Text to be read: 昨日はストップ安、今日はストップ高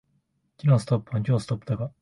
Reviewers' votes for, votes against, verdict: 2, 1, accepted